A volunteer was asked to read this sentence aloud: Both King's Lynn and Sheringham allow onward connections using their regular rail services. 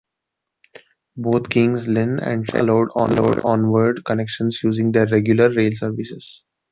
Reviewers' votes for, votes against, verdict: 1, 2, rejected